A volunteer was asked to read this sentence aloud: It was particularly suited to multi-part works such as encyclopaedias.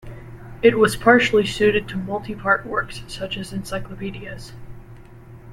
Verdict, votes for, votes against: rejected, 1, 2